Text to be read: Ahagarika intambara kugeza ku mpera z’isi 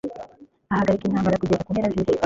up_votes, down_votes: 2, 0